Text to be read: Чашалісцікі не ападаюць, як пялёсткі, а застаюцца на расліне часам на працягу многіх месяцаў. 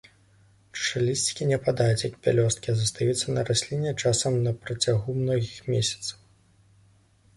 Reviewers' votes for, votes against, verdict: 1, 2, rejected